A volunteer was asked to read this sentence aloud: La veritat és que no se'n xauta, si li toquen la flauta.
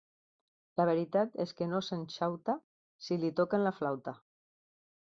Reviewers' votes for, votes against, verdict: 3, 0, accepted